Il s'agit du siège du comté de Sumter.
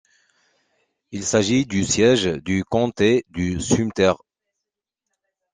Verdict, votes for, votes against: rejected, 1, 2